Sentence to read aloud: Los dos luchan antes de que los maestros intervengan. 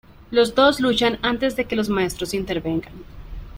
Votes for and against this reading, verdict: 0, 2, rejected